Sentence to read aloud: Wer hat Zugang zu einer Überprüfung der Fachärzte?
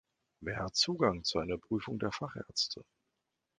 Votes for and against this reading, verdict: 1, 2, rejected